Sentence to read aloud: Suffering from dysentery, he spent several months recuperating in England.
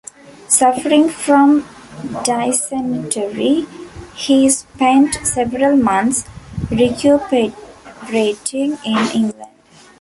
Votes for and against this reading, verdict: 0, 2, rejected